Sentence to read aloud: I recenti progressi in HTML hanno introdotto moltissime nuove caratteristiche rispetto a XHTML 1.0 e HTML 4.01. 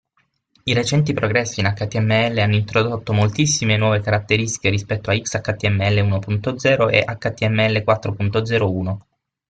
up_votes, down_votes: 0, 2